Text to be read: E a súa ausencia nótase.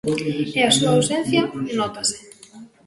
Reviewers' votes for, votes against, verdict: 0, 2, rejected